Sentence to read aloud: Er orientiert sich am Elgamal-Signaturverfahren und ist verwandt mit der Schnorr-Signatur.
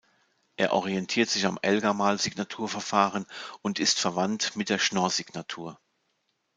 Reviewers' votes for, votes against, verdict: 2, 0, accepted